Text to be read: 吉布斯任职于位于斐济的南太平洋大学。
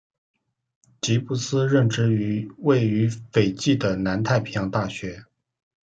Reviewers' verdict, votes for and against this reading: accepted, 2, 0